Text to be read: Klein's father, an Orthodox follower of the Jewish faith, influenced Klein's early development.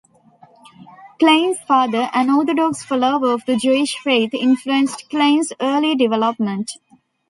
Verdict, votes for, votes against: accepted, 2, 0